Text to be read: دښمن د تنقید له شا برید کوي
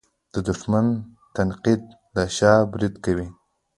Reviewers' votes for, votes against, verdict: 1, 2, rejected